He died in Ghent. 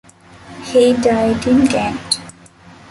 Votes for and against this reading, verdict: 2, 0, accepted